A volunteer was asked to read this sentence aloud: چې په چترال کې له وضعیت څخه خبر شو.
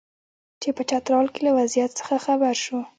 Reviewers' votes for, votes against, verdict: 0, 2, rejected